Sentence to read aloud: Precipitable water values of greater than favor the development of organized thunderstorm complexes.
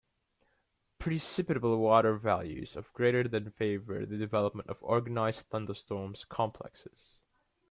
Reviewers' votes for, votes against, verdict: 2, 3, rejected